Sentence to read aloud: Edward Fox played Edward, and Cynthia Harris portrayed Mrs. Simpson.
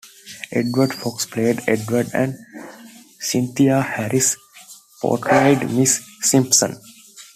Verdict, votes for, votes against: accepted, 2, 1